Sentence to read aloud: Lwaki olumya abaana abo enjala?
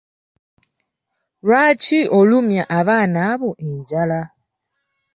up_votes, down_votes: 2, 0